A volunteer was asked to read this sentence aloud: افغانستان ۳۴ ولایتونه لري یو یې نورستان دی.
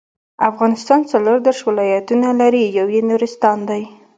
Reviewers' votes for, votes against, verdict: 0, 2, rejected